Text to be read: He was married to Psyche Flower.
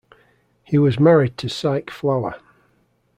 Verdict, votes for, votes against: rejected, 1, 2